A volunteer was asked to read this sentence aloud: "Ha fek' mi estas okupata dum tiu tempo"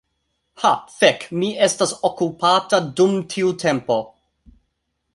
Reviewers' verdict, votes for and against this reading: accepted, 2, 0